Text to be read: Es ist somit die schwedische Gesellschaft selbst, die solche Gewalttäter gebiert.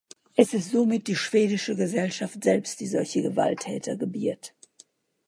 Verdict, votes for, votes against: accepted, 2, 0